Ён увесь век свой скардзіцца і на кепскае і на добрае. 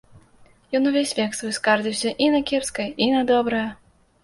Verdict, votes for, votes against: rejected, 1, 2